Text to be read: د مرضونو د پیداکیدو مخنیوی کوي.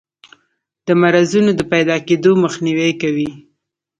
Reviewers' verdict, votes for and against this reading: accepted, 2, 0